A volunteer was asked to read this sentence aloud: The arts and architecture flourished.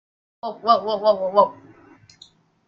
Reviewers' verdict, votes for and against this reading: rejected, 1, 2